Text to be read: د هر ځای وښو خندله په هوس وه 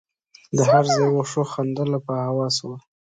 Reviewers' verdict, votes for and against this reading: accepted, 2, 0